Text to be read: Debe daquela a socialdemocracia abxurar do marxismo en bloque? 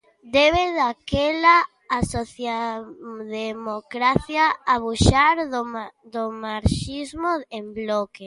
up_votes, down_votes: 0, 2